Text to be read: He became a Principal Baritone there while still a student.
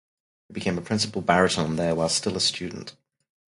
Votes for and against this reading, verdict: 4, 4, rejected